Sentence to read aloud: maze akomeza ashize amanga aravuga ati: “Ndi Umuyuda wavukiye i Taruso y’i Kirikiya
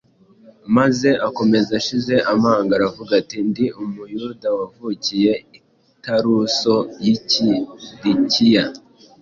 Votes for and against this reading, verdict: 2, 0, accepted